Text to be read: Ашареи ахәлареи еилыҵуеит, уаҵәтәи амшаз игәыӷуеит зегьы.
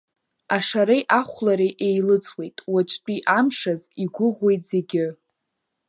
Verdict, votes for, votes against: accepted, 2, 0